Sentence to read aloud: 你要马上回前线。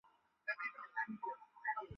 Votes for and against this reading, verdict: 1, 2, rejected